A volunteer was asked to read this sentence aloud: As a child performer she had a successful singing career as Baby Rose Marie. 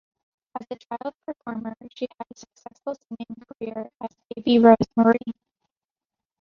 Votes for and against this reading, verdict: 0, 2, rejected